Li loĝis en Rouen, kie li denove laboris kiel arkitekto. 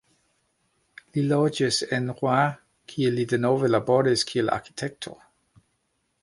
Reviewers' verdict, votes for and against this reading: rejected, 0, 2